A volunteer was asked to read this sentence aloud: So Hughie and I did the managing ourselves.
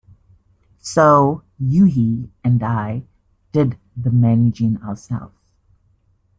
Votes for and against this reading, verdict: 1, 2, rejected